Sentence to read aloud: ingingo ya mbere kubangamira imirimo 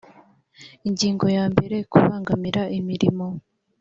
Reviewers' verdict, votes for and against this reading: accepted, 2, 0